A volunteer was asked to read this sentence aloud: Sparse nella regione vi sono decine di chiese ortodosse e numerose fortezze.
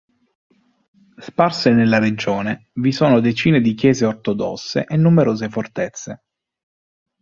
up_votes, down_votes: 2, 0